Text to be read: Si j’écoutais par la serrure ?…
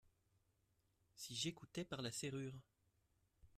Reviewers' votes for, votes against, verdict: 2, 0, accepted